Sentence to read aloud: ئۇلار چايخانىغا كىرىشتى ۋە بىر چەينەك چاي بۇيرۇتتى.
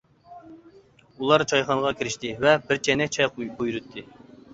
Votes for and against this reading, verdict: 0, 2, rejected